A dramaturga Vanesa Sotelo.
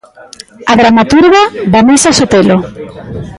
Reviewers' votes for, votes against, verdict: 1, 2, rejected